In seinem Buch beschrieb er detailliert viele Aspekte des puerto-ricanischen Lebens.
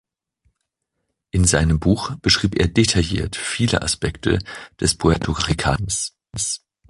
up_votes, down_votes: 0, 2